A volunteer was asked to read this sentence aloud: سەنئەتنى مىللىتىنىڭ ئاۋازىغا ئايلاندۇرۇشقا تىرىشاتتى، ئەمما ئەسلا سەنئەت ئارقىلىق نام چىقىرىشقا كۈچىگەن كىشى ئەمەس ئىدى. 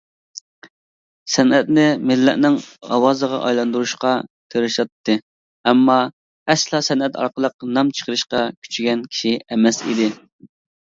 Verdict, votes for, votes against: accepted, 2, 1